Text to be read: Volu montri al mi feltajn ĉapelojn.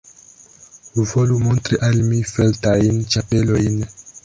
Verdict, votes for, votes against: accepted, 2, 1